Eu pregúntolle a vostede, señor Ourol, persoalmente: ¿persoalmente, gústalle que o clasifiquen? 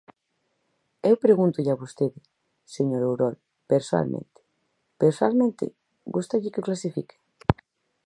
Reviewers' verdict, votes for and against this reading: accepted, 4, 0